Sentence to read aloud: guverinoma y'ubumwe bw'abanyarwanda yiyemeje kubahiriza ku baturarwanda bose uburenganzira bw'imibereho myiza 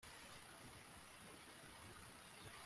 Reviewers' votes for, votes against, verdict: 1, 2, rejected